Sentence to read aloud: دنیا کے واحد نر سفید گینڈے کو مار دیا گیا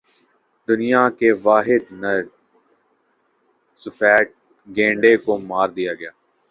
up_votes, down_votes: 1, 2